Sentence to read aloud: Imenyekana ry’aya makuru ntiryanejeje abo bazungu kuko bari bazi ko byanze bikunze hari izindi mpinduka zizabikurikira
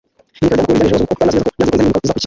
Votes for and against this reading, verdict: 0, 2, rejected